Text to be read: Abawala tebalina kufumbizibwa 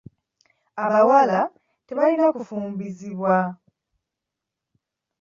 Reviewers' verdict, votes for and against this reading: accepted, 2, 0